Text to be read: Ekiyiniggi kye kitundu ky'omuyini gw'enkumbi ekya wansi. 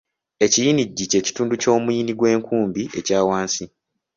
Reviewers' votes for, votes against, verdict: 2, 0, accepted